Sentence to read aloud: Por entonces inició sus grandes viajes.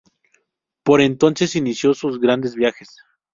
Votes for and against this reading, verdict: 2, 0, accepted